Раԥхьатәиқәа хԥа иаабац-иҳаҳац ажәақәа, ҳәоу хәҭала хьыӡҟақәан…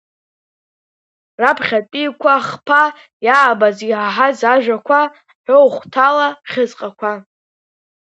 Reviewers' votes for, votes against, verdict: 0, 2, rejected